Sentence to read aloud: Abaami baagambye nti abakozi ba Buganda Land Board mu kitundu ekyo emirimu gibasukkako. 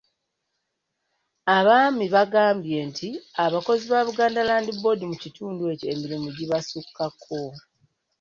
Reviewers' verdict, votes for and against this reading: accepted, 2, 0